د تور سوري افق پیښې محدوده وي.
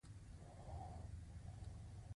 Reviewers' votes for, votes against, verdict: 2, 0, accepted